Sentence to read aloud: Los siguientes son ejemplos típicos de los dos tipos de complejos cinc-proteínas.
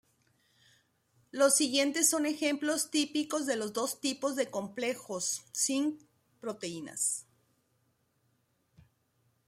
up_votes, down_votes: 2, 0